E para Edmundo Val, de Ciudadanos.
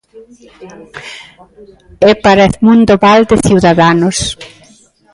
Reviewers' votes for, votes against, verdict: 2, 0, accepted